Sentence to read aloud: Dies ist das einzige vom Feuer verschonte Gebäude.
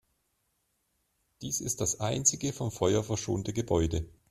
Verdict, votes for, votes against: accepted, 2, 0